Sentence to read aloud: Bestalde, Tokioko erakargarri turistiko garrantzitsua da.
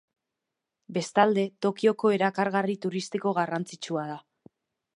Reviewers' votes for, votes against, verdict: 2, 0, accepted